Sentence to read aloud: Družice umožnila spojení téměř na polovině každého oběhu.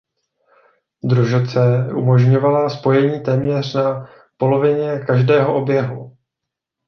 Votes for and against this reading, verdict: 0, 2, rejected